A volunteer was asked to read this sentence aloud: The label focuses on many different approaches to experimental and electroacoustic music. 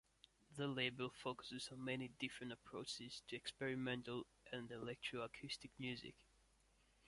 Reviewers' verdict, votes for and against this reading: accepted, 2, 0